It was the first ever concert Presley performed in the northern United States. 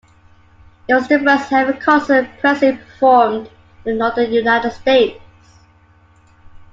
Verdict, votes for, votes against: accepted, 2, 1